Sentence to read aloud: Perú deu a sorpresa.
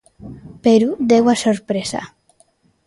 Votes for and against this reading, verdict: 2, 0, accepted